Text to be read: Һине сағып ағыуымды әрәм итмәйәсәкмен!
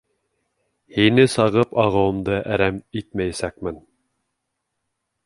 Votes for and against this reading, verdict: 2, 1, accepted